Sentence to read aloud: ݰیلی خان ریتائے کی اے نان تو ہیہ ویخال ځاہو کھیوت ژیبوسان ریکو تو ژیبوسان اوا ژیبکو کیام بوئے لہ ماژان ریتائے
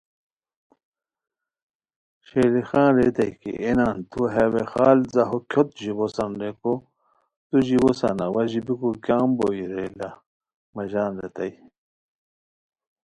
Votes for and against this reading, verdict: 1, 2, rejected